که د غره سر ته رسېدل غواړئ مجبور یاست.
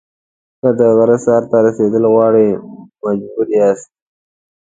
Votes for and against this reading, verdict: 2, 0, accepted